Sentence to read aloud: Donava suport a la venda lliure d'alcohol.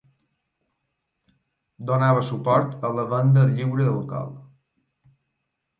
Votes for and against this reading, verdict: 0, 2, rejected